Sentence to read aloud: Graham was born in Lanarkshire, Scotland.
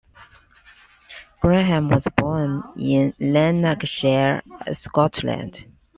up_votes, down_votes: 2, 0